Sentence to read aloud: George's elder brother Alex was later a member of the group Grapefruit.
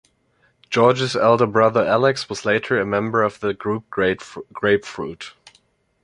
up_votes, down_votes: 1, 3